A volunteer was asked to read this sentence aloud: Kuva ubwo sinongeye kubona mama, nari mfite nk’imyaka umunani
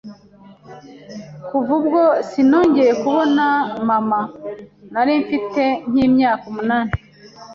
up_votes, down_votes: 2, 0